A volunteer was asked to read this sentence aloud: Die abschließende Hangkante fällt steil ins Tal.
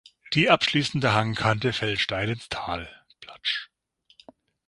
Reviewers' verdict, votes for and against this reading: rejected, 0, 6